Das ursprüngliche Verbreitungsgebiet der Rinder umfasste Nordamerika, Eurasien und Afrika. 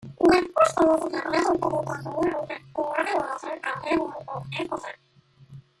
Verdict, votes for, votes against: rejected, 0, 2